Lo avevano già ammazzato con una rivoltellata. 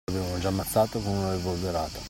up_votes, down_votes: 2, 0